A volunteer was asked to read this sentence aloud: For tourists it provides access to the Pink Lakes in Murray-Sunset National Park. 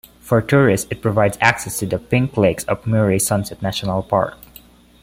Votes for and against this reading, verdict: 1, 2, rejected